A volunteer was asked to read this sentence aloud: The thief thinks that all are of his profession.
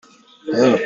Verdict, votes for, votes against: rejected, 0, 2